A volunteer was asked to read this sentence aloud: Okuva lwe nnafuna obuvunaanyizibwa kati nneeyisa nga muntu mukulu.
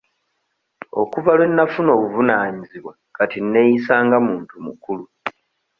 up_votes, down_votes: 2, 0